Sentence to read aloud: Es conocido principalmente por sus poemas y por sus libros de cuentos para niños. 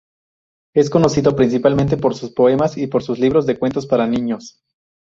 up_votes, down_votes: 2, 2